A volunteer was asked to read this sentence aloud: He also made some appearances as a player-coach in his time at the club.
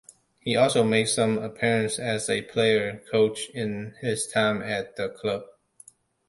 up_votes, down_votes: 2, 0